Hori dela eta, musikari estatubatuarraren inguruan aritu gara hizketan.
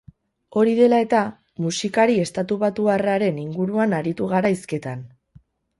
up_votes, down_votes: 2, 2